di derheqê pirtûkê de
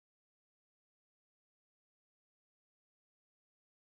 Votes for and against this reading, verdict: 0, 2, rejected